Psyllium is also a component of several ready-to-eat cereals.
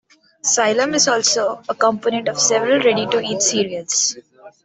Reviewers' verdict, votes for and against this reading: accepted, 2, 0